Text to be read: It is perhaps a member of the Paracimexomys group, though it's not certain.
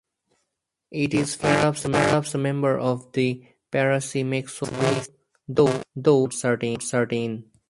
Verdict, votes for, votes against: rejected, 0, 4